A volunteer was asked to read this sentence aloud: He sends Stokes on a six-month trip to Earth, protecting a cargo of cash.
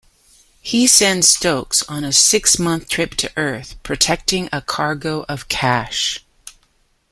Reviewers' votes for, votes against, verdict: 2, 0, accepted